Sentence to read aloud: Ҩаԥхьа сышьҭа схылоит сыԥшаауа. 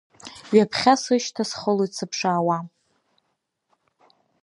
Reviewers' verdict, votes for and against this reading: accepted, 2, 0